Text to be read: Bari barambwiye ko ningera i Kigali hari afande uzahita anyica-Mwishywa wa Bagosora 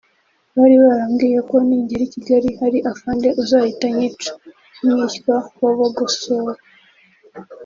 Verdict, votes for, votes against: accepted, 2, 0